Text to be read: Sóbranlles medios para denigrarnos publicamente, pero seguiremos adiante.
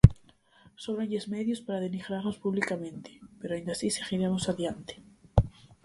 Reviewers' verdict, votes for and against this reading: rejected, 0, 4